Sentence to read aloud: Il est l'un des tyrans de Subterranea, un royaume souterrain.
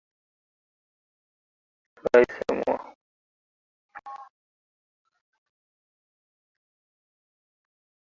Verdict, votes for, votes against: rejected, 0, 2